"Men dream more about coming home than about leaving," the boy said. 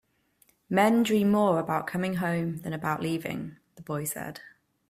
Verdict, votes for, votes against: accepted, 2, 0